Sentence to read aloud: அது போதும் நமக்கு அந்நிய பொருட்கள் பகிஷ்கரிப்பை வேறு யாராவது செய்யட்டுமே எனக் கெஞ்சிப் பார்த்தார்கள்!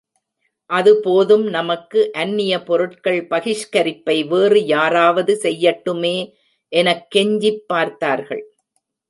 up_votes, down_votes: 2, 0